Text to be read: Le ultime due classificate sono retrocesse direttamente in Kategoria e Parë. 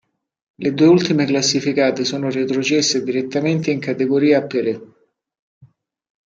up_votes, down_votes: 1, 2